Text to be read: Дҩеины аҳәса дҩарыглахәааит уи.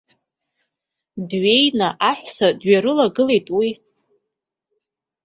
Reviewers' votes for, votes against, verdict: 2, 0, accepted